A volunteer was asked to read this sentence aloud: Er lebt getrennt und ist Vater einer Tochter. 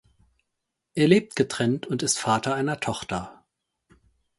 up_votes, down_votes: 4, 0